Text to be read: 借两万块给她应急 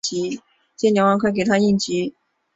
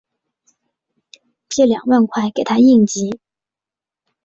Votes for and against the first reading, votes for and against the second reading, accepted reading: 0, 2, 3, 2, second